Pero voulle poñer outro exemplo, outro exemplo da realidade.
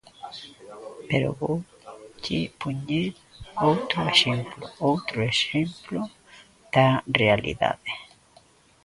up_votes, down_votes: 1, 2